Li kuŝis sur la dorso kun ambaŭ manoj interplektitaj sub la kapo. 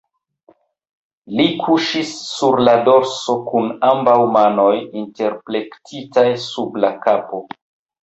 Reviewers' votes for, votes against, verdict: 1, 2, rejected